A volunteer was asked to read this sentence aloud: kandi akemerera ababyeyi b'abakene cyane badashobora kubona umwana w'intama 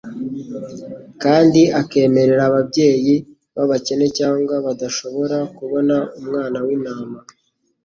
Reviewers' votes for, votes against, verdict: 1, 2, rejected